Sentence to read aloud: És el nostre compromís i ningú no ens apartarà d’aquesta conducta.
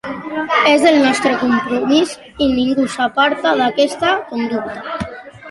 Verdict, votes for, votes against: rejected, 0, 2